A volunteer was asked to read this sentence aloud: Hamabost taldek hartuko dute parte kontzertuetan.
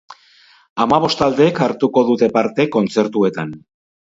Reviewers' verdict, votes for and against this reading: accepted, 4, 0